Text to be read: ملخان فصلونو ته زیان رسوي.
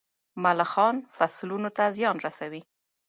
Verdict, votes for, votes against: accepted, 2, 1